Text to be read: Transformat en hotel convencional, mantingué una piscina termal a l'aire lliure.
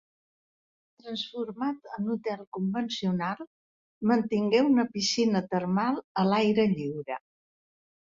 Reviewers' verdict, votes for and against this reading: accepted, 3, 1